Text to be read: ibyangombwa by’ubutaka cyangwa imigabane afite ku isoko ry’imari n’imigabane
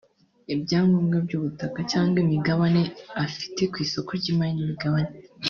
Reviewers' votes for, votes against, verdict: 2, 0, accepted